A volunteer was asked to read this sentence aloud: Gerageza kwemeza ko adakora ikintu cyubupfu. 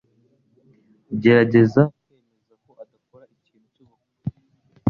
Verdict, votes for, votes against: rejected, 1, 2